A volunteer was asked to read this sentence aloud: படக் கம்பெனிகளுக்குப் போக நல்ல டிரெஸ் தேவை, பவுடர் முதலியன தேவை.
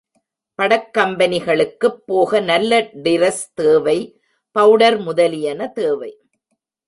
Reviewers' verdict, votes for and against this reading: rejected, 1, 2